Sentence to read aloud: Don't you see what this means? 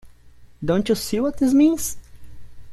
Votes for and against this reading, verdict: 2, 0, accepted